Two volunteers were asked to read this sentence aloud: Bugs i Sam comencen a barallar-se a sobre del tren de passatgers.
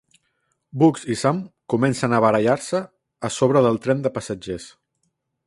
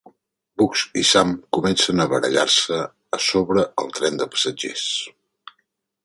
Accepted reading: first